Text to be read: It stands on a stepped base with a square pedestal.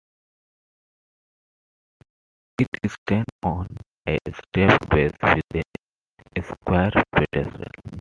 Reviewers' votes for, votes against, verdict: 1, 2, rejected